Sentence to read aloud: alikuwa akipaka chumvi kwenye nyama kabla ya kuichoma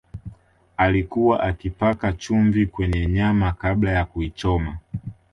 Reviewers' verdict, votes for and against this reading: accepted, 2, 0